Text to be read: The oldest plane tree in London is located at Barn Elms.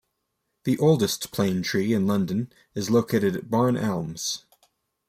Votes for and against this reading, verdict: 2, 0, accepted